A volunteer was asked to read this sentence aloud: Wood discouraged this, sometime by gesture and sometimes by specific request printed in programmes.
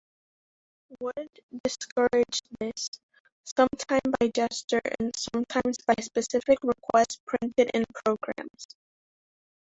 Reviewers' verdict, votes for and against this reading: accepted, 2, 1